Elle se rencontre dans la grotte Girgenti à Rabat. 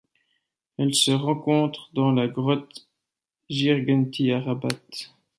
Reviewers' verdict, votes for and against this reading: rejected, 0, 2